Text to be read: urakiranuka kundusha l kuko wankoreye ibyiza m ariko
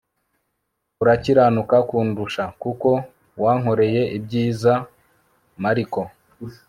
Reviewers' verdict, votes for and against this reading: accepted, 2, 0